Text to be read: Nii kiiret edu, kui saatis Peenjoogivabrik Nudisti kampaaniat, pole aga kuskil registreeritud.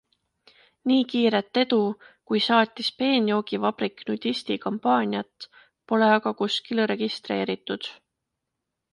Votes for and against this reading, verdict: 2, 0, accepted